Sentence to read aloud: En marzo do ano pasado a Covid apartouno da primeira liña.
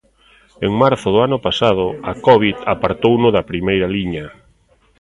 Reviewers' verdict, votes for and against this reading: rejected, 0, 2